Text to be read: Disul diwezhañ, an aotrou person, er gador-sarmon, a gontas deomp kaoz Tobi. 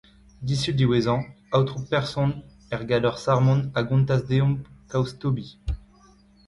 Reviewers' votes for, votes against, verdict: 1, 2, rejected